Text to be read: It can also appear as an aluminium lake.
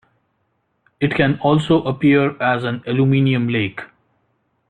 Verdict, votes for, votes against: rejected, 0, 2